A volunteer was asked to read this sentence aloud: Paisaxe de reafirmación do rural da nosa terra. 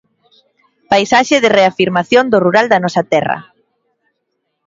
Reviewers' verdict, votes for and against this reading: accepted, 2, 0